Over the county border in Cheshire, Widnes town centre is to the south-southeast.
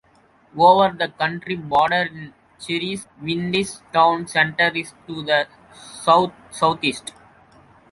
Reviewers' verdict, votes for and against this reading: rejected, 0, 2